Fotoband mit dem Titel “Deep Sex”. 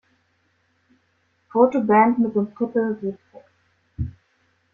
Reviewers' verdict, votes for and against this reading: rejected, 0, 2